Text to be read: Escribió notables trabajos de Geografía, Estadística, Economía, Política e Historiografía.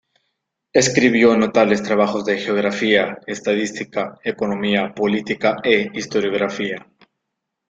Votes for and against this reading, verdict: 3, 1, accepted